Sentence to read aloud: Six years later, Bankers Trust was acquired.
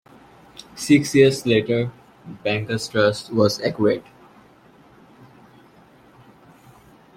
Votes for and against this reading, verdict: 1, 2, rejected